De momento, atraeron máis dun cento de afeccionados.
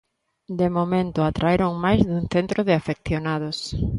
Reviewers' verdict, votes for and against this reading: rejected, 0, 2